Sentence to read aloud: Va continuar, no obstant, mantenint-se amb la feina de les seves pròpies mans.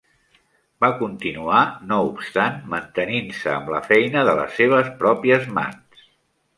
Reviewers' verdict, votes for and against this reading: accepted, 3, 0